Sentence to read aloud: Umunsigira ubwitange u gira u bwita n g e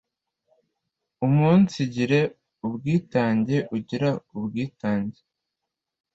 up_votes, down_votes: 2, 0